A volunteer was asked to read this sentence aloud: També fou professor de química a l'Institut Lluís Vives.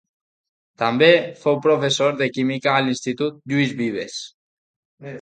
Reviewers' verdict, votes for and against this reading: accepted, 2, 0